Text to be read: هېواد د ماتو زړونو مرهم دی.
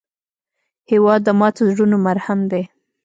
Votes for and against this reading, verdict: 2, 0, accepted